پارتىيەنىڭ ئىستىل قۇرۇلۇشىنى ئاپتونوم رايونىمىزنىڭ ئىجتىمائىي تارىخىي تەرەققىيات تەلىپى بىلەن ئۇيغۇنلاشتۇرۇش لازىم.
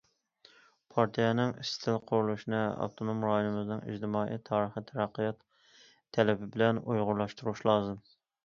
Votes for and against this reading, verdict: 1, 2, rejected